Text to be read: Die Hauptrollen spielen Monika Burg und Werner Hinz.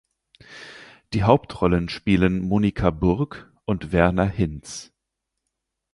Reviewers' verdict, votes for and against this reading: accepted, 4, 0